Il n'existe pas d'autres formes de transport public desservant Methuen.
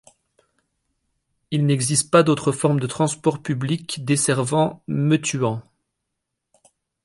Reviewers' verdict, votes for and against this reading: rejected, 1, 2